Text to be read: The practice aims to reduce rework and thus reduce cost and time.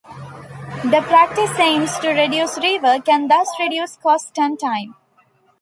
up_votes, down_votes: 1, 2